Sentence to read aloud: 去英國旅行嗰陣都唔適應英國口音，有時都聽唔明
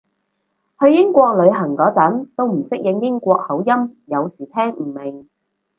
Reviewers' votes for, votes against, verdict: 0, 4, rejected